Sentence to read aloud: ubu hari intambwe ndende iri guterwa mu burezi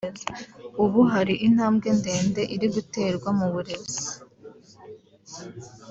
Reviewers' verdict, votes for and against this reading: accepted, 3, 0